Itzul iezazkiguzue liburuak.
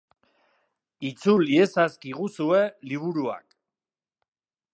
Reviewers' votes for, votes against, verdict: 3, 0, accepted